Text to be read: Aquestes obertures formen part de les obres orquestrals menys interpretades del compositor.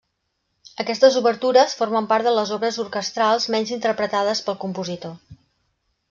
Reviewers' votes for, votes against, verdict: 0, 2, rejected